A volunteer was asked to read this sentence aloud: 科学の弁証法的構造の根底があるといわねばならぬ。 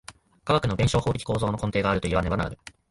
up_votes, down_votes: 2, 0